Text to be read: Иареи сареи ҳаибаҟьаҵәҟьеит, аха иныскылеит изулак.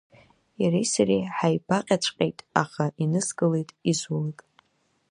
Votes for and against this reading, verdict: 2, 1, accepted